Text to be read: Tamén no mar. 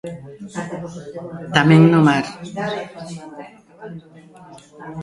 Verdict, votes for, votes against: rejected, 1, 2